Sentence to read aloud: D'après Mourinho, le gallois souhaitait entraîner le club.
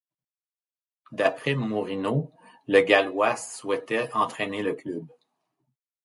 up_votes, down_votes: 1, 2